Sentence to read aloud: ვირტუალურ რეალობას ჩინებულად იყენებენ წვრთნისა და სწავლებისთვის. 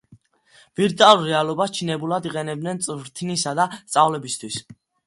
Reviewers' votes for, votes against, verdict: 2, 0, accepted